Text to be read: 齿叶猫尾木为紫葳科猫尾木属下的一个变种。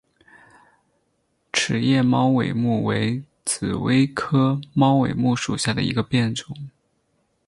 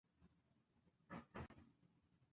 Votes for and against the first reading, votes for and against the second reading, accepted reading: 10, 0, 0, 3, first